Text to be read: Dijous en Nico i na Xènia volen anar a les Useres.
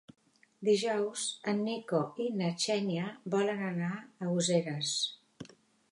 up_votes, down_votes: 0, 2